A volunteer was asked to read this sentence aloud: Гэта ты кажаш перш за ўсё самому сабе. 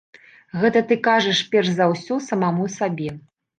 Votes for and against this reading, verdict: 0, 2, rejected